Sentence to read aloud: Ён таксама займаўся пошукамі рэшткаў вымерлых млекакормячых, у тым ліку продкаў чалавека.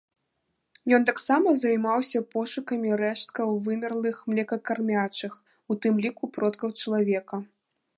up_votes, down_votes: 1, 2